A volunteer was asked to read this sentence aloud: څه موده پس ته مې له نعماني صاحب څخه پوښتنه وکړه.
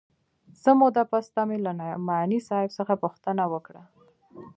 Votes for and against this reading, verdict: 2, 1, accepted